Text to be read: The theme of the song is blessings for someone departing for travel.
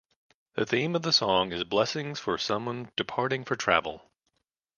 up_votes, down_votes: 2, 0